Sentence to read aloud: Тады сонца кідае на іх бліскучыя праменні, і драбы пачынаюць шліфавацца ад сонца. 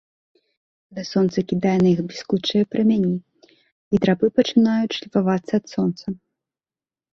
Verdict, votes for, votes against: rejected, 1, 2